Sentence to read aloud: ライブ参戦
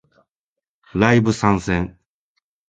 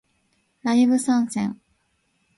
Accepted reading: first